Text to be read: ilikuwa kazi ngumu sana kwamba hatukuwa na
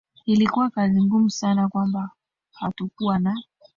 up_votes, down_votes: 2, 1